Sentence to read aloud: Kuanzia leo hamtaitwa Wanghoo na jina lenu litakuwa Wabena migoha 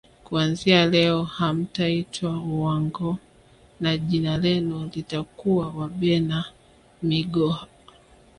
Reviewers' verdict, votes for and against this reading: accepted, 2, 1